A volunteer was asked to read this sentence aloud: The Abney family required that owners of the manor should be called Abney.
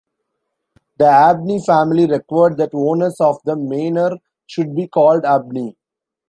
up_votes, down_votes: 2, 0